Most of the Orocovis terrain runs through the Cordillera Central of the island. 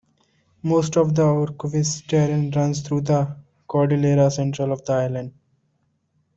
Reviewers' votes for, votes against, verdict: 1, 2, rejected